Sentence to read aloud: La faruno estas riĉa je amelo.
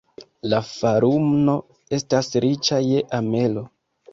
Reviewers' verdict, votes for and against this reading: rejected, 0, 2